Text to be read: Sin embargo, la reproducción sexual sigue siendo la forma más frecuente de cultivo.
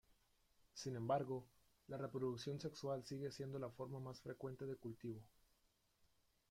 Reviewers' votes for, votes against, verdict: 0, 2, rejected